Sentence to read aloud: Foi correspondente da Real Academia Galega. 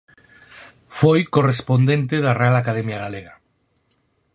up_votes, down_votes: 4, 0